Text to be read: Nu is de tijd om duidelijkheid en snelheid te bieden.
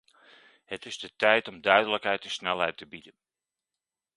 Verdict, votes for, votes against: rejected, 0, 2